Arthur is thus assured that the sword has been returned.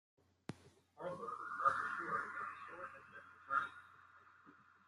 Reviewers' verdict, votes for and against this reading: rejected, 0, 2